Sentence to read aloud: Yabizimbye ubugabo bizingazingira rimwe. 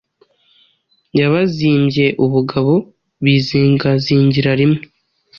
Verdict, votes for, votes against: accepted, 2, 0